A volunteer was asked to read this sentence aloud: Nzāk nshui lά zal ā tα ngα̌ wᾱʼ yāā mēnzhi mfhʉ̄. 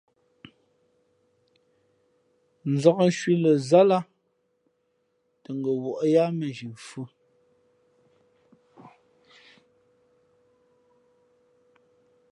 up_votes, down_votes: 2, 0